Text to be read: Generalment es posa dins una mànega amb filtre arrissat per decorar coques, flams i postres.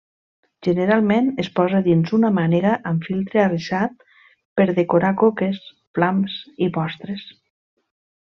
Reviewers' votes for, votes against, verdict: 2, 0, accepted